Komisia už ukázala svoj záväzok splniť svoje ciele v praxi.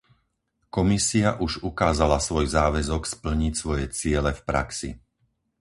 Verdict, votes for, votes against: accepted, 4, 0